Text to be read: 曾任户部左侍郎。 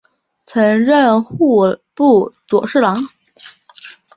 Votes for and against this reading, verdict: 3, 0, accepted